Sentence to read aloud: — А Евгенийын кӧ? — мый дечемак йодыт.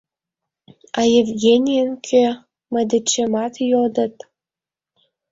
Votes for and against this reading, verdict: 1, 2, rejected